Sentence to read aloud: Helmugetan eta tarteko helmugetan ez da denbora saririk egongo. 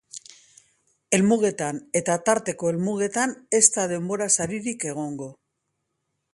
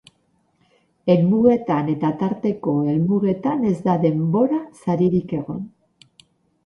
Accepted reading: first